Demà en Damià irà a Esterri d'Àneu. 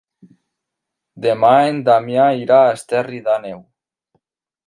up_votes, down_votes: 3, 0